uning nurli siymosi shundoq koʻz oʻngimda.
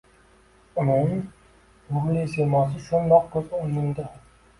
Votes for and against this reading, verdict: 2, 1, accepted